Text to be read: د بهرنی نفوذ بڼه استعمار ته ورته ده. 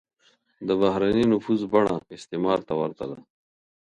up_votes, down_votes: 2, 0